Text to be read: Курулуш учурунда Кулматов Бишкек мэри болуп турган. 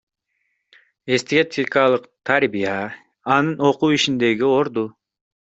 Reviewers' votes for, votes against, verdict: 0, 2, rejected